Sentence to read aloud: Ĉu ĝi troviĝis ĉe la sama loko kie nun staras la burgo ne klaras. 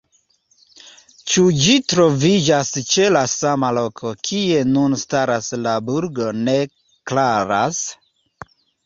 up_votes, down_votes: 2, 0